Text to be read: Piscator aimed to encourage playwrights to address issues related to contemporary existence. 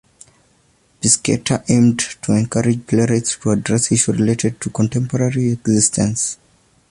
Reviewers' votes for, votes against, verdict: 1, 2, rejected